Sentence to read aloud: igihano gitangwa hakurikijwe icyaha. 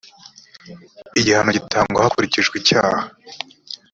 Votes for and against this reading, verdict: 2, 0, accepted